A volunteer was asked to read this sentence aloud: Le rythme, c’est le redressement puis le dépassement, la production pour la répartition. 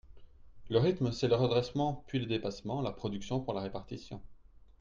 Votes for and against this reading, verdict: 2, 0, accepted